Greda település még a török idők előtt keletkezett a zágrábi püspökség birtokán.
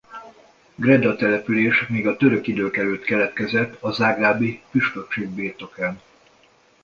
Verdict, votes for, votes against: accepted, 2, 0